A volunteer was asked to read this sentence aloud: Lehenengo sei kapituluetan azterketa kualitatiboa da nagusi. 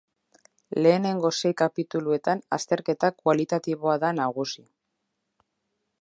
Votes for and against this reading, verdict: 2, 0, accepted